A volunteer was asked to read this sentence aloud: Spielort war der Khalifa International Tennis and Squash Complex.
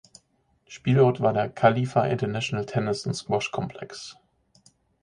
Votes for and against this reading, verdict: 0, 4, rejected